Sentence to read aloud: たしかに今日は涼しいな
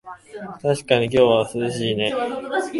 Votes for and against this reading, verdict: 0, 2, rejected